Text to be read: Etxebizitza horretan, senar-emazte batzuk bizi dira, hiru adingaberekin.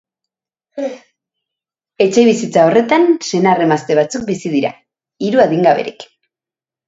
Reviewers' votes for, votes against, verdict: 1, 2, rejected